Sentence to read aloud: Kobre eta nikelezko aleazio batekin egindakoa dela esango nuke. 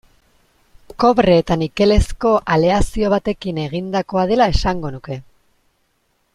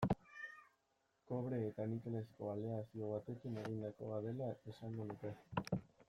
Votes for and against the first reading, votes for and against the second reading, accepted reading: 2, 0, 1, 2, first